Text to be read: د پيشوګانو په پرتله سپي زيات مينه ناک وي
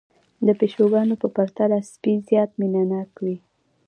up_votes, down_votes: 2, 0